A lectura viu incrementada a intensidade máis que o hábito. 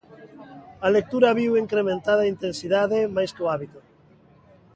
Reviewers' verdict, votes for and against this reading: rejected, 1, 2